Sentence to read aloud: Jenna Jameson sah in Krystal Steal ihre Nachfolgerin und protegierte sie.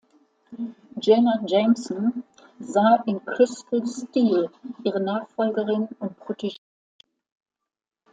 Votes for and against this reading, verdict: 0, 2, rejected